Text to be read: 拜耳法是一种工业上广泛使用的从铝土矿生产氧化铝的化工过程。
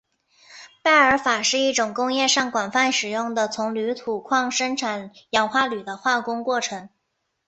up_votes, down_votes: 2, 0